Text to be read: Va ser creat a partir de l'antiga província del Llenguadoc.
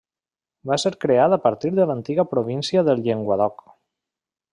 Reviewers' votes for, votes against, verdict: 1, 2, rejected